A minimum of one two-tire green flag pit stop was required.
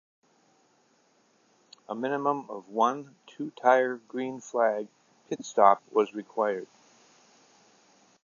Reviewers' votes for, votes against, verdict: 2, 0, accepted